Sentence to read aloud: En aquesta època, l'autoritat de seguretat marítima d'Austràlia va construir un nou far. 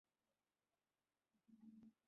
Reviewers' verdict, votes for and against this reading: rejected, 0, 3